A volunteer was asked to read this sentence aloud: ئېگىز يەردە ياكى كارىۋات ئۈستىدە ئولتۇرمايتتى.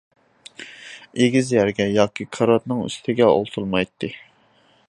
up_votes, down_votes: 0, 2